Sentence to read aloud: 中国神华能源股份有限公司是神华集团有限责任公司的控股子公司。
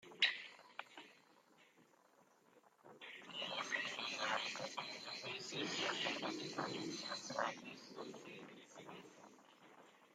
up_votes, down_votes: 0, 2